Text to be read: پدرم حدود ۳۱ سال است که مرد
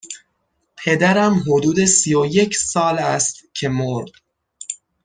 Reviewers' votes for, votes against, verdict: 0, 2, rejected